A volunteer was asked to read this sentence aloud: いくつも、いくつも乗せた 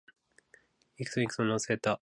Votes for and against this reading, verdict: 2, 1, accepted